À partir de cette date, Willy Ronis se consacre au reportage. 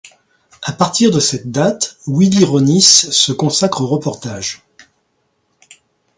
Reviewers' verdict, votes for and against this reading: accepted, 2, 0